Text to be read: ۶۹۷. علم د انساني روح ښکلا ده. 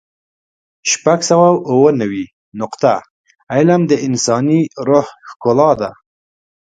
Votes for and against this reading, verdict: 0, 2, rejected